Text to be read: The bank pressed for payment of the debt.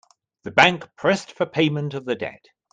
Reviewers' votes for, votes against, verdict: 2, 0, accepted